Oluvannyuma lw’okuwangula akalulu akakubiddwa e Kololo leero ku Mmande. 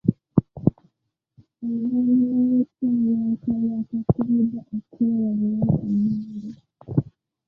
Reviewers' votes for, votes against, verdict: 1, 2, rejected